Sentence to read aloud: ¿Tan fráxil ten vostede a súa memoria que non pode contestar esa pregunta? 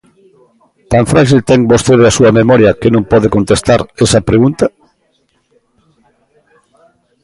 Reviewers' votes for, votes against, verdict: 2, 0, accepted